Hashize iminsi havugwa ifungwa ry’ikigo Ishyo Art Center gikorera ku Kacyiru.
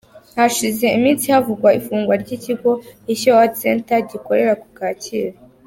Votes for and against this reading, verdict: 3, 0, accepted